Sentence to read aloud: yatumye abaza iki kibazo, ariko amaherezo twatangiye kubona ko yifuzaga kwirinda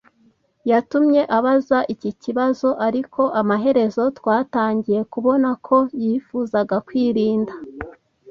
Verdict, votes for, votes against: accepted, 2, 0